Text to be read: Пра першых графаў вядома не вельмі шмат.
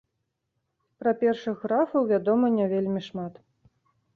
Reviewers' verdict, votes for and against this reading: accepted, 2, 0